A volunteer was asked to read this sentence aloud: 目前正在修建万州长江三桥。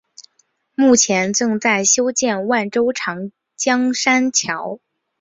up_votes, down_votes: 4, 0